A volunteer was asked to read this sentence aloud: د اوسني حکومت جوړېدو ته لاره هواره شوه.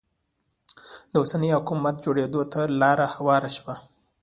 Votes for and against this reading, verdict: 1, 2, rejected